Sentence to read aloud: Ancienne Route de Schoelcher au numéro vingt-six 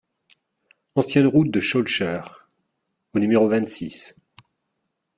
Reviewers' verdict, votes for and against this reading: accepted, 2, 0